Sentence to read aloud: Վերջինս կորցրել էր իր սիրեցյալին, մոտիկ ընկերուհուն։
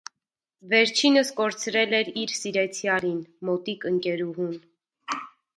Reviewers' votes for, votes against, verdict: 2, 0, accepted